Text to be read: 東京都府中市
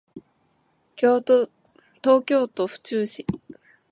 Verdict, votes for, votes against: rejected, 1, 3